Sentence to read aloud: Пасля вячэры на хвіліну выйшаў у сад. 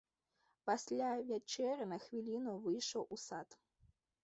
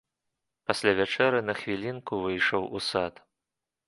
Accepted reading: first